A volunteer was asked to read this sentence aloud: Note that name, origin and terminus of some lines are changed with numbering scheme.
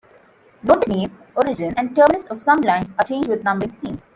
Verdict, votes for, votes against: accepted, 2, 1